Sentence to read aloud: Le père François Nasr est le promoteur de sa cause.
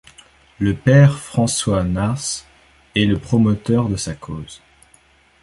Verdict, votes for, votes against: accepted, 2, 1